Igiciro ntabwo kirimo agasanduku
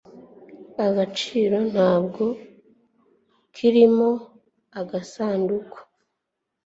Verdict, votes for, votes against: rejected, 1, 2